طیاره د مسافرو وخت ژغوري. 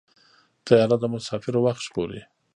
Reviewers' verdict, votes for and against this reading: rejected, 0, 2